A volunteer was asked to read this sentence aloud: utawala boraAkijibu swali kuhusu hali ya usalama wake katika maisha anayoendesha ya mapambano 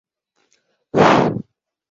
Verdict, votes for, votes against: rejected, 0, 2